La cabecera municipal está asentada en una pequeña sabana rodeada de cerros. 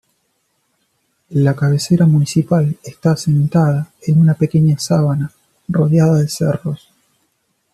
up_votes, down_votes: 0, 2